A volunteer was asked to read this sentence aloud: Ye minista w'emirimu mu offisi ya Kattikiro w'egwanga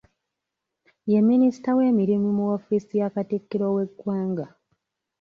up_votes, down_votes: 3, 0